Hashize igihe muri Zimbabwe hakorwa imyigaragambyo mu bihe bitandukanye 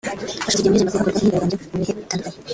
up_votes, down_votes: 2, 3